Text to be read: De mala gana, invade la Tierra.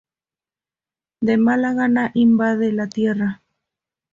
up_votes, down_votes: 2, 0